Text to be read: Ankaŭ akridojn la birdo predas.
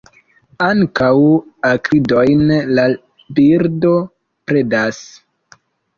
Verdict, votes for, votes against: accepted, 3, 0